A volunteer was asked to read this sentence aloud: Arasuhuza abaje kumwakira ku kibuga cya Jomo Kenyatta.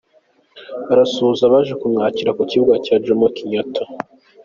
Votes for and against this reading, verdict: 2, 1, accepted